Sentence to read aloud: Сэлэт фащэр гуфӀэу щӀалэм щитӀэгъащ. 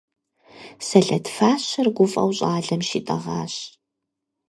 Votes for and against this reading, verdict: 4, 0, accepted